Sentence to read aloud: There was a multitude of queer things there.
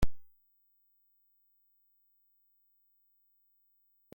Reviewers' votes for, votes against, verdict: 0, 2, rejected